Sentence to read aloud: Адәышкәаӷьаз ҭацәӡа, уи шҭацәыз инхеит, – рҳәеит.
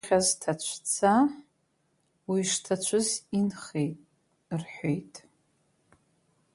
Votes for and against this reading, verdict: 0, 2, rejected